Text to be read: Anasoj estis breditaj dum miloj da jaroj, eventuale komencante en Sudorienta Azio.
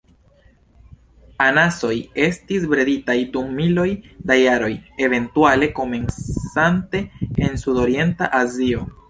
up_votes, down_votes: 0, 2